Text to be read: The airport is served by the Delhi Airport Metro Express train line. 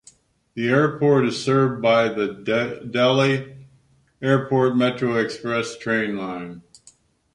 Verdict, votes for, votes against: rejected, 1, 2